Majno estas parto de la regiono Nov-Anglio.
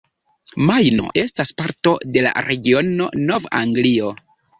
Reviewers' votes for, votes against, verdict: 2, 0, accepted